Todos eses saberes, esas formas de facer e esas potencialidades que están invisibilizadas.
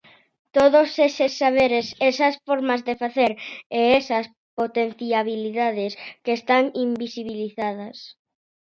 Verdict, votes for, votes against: rejected, 0, 2